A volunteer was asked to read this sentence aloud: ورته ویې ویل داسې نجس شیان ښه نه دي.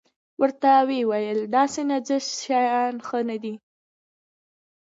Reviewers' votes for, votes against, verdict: 1, 2, rejected